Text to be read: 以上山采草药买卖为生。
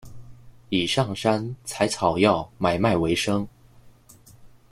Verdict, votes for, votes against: accepted, 2, 0